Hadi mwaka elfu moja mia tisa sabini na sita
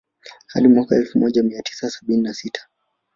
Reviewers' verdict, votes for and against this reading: rejected, 1, 2